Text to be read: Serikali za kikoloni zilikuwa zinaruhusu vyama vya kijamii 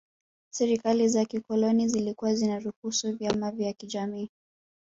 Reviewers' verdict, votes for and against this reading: rejected, 1, 2